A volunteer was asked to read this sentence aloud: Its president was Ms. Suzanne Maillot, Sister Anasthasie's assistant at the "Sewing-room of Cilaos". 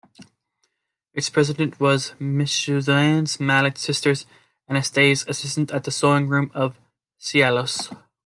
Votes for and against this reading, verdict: 2, 1, accepted